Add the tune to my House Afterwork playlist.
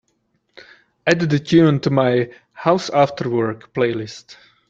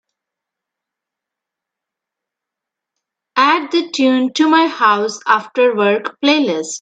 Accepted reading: first